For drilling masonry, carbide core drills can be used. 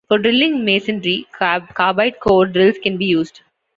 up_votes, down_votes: 2, 1